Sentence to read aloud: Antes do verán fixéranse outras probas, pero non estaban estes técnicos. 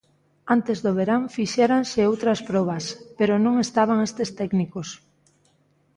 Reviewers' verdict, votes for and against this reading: accepted, 2, 0